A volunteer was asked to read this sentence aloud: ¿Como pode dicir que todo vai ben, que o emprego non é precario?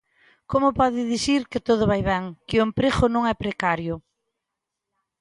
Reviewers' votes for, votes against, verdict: 2, 0, accepted